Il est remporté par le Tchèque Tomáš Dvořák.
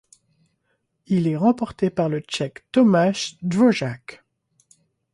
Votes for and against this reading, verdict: 1, 2, rejected